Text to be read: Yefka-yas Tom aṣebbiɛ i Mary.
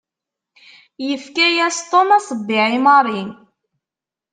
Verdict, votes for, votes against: accepted, 2, 0